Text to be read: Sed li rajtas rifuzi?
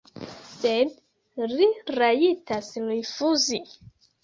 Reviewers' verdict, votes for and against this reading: rejected, 0, 2